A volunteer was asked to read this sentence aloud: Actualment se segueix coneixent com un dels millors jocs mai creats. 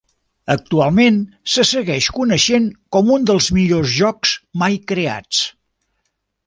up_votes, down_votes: 3, 0